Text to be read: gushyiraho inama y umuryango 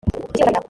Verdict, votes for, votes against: rejected, 0, 2